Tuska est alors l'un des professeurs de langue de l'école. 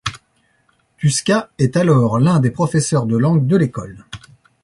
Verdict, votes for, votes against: accepted, 2, 0